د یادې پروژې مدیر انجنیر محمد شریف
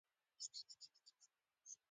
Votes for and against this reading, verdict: 0, 2, rejected